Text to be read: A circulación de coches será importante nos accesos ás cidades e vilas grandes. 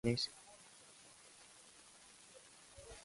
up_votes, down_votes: 0, 2